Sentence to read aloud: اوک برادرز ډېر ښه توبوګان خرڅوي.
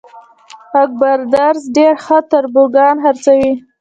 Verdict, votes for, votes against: rejected, 1, 2